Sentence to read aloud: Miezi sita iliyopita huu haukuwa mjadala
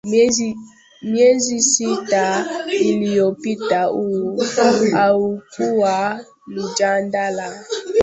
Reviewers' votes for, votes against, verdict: 0, 2, rejected